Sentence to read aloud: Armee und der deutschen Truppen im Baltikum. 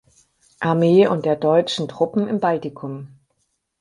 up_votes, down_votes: 6, 0